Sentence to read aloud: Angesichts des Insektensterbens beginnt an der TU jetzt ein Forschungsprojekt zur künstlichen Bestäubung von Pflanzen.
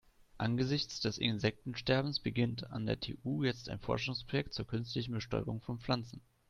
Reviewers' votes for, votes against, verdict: 2, 0, accepted